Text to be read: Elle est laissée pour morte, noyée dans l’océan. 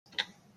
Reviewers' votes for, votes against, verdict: 0, 2, rejected